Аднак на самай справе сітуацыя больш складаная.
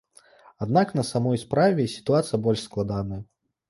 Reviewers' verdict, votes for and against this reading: rejected, 1, 2